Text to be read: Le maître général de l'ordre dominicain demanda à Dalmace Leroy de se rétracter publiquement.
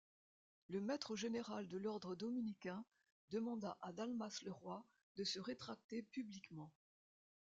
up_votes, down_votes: 2, 0